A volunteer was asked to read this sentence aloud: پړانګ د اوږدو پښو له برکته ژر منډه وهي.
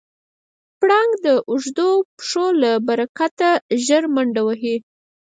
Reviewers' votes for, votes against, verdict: 0, 4, rejected